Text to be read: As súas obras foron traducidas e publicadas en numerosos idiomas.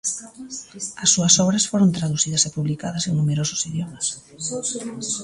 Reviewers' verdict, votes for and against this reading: rejected, 0, 2